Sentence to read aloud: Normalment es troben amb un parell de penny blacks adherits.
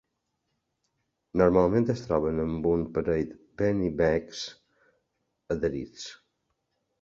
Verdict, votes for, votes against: rejected, 1, 3